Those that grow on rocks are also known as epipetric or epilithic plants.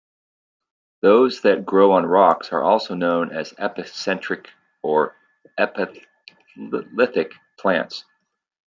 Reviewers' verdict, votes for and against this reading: rejected, 0, 2